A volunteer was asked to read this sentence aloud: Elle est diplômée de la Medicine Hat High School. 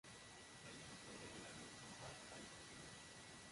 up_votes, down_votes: 0, 2